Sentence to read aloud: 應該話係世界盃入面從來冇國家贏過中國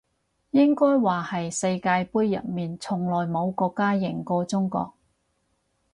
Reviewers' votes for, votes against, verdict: 4, 0, accepted